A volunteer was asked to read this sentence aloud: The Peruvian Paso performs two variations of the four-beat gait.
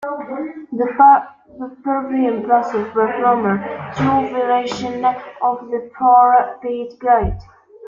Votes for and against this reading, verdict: 1, 3, rejected